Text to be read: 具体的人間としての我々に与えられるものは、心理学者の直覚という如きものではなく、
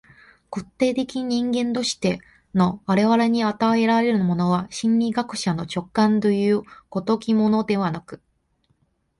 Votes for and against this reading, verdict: 2, 1, accepted